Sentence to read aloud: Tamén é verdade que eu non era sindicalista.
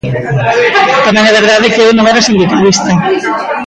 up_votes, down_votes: 0, 2